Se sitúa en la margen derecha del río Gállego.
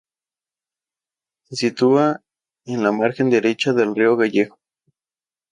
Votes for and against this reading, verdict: 0, 2, rejected